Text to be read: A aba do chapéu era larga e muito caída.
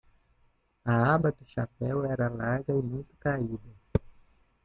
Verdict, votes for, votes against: rejected, 1, 2